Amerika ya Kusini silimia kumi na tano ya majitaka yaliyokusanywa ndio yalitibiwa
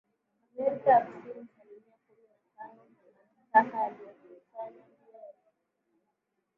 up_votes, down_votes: 0, 2